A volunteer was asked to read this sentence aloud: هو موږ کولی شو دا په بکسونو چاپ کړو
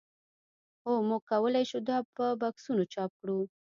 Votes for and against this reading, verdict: 0, 2, rejected